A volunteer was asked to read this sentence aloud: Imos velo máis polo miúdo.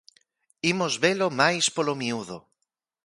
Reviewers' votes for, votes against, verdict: 2, 0, accepted